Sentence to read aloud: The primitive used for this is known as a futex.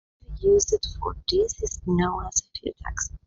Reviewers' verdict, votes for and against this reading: rejected, 0, 2